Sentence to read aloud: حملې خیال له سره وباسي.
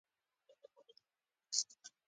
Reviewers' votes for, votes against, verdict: 1, 2, rejected